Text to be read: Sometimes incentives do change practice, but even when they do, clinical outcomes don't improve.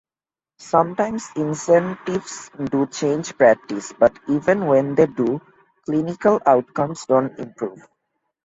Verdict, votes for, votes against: accepted, 2, 0